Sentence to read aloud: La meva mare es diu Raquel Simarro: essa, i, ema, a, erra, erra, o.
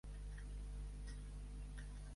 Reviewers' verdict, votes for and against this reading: rejected, 1, 2